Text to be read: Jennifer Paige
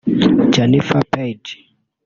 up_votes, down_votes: 1, 2